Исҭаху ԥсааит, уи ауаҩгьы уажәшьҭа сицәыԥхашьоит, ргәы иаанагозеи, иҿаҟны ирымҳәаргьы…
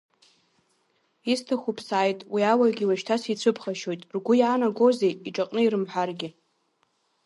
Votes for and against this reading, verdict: 3, 0, accepted